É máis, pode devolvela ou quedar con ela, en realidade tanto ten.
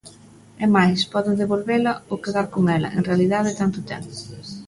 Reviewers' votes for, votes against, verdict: 3, 0, accepted